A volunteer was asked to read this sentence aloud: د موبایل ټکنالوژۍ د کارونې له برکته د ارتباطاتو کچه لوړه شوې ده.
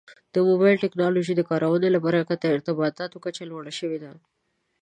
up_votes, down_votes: 1, 2